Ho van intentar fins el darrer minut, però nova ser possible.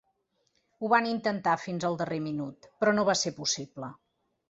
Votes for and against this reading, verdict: 2, 0, accepted